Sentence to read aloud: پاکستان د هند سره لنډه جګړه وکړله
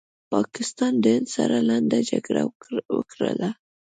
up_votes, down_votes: 2, 0